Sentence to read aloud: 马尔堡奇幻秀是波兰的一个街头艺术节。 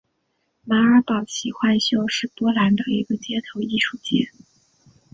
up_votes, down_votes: 2, 0